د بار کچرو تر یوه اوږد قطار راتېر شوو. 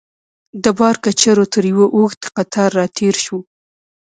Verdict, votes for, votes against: accepted, 2, 0